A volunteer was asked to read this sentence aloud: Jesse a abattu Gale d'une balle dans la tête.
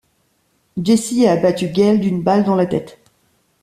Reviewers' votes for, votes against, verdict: 2, 0, accepted